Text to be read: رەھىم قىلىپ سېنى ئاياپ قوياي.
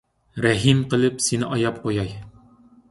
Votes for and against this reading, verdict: 2, 0, accepted